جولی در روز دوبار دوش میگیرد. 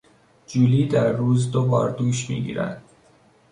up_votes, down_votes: 2, 0